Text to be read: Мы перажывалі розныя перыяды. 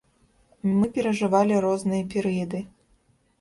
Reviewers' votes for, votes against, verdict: 2, 0, accepted